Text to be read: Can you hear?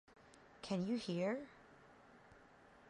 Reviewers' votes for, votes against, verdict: 2, 0, accepted